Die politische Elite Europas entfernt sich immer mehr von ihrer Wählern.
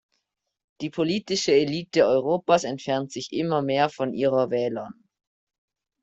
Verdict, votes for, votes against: rejected, 1, 2